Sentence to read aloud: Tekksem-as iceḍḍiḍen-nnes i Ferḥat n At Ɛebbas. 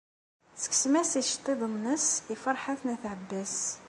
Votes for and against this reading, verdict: 2, 1, accepted